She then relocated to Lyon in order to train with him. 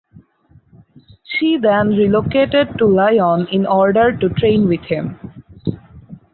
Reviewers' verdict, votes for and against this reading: accepted, 4, 0